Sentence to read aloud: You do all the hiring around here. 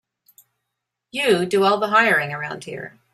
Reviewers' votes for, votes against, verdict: 3, 0, accepted